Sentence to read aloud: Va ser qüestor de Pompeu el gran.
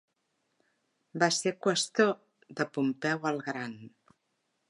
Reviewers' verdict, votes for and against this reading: accepted, 3, 0